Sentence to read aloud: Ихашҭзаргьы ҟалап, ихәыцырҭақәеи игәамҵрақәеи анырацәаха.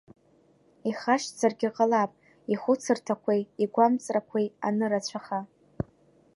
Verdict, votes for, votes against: accepted, 2, 0